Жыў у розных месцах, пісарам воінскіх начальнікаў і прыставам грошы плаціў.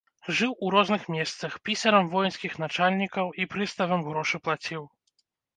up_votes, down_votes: 2, 0